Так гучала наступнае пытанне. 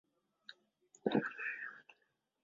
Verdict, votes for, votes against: rejected, 0, 2